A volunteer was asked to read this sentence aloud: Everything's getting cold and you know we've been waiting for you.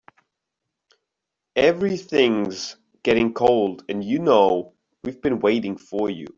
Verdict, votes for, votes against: rejected, 1, 2